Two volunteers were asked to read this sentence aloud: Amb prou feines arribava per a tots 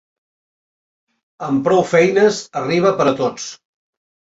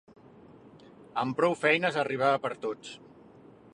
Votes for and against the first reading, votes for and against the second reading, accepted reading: 0, 2, 2, 0, second